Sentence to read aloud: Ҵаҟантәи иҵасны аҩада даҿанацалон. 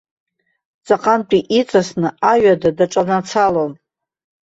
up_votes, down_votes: 1, 2